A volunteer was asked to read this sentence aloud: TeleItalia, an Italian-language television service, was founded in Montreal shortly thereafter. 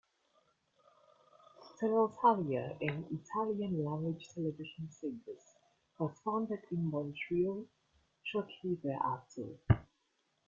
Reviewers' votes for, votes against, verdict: 0, 2, rejected